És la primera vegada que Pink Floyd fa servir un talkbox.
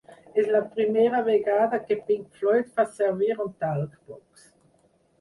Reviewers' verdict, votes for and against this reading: rejected, 2, 4